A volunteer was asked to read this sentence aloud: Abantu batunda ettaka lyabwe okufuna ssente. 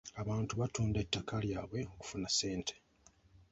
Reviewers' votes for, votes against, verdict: 0, 2, rejected